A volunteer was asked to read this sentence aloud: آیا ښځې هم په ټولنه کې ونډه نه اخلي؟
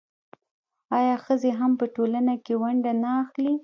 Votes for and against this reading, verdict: 0, 2, rejected